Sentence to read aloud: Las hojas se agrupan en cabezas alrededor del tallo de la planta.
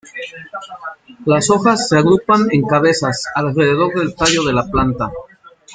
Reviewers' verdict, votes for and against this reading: accepted, 2, 1